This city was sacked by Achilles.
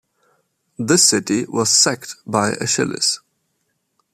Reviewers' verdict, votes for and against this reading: accepted, 2, 0